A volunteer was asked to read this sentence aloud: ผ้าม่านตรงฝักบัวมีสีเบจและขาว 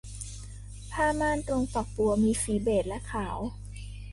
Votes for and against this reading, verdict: 2, 0, accepted